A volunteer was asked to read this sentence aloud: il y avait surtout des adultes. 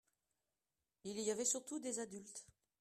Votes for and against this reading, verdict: 2, 0, accepted